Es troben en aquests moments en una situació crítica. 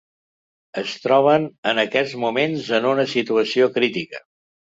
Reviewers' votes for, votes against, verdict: 3, 0, accepted